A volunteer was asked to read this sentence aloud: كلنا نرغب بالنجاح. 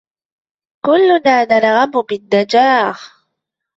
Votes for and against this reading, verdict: 2, 0, accepted